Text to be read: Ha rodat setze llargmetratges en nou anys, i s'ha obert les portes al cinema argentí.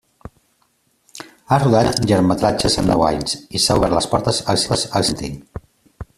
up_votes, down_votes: 0, 2